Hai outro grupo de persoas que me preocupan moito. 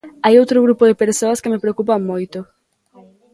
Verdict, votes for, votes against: accepted, 2, 0